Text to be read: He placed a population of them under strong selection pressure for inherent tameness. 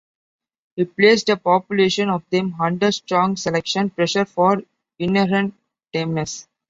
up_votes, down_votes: 2, 1